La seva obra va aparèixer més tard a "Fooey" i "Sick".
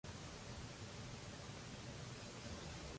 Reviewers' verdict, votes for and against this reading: rejected, 0, 2